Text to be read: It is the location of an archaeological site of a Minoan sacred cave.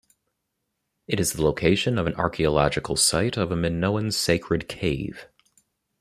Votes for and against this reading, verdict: 2, 0, accepted